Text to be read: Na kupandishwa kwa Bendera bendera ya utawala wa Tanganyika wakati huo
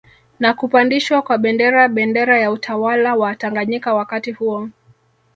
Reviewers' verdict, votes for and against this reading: accepted, 3, 0